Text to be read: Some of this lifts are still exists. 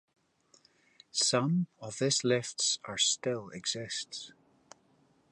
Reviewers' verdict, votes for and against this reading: accepted, 2, 0